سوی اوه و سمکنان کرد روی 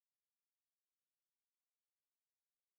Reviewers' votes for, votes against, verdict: 1, 2, rejected